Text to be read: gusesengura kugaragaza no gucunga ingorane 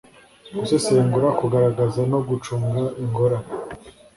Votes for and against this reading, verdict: 3, 0, accepted